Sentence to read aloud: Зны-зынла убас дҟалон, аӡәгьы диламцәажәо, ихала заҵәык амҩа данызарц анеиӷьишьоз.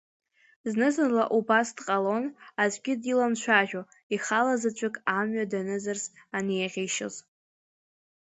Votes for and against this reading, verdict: 2, 1, accepted